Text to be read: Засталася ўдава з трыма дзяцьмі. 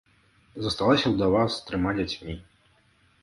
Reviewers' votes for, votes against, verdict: 2, 0, accepted